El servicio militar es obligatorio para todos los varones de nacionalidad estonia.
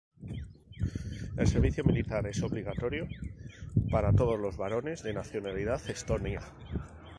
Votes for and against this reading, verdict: 2, 0, accepted